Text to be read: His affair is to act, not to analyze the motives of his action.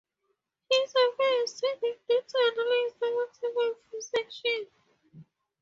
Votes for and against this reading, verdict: 0, 2, rejected